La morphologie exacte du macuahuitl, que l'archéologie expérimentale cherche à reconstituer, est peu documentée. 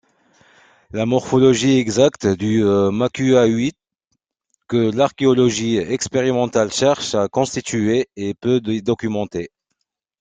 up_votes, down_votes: 1, 3